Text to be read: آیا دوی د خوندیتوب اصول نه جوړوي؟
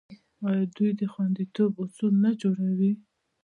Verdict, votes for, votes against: accepted, 2, 0